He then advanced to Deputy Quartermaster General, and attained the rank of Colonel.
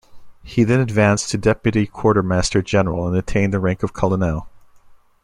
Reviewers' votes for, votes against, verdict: 0, 2, rejected